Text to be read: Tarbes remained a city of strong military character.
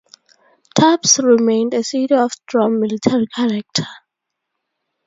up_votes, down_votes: 0, 2